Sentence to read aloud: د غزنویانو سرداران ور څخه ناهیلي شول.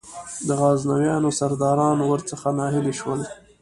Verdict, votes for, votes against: rejected, 1, 2